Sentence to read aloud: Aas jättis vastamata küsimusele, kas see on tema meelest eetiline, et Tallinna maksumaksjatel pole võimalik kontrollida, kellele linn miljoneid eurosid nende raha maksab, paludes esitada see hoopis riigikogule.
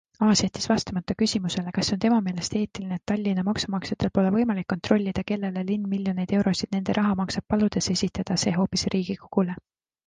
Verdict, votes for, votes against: accepted, 2, 1